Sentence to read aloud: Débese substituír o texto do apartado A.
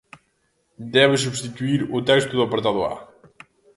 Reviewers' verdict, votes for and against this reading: rejected, 0, 2